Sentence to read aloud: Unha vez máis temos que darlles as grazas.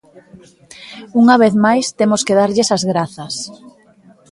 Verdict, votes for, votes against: accepted, 2, 0